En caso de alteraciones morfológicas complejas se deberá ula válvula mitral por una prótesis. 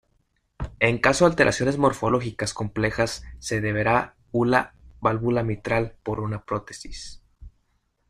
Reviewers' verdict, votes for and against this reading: accepted, 2, 0